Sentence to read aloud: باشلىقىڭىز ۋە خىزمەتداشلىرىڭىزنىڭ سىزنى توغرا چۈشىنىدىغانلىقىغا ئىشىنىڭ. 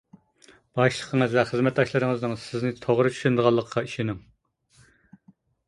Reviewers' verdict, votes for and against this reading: accepted, 2, 0